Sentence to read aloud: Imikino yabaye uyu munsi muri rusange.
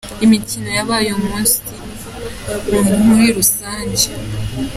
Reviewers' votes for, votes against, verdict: 2, 1, accepted